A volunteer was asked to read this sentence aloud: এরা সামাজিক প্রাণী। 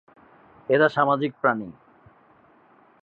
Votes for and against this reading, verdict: 5, 0, accepted